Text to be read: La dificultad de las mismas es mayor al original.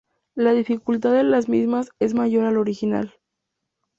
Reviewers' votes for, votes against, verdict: 2, 0, accepted